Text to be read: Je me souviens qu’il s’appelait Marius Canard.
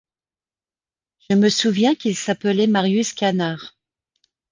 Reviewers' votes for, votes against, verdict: 2, 0, accepted